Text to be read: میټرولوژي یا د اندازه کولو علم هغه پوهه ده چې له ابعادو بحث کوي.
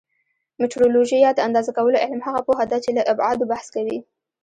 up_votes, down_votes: 1, 2